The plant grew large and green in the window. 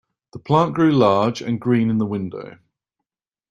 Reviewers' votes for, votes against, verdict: 2, 0, accepted